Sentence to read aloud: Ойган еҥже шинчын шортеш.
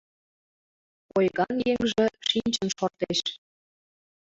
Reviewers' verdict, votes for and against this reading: accepted, 2, 0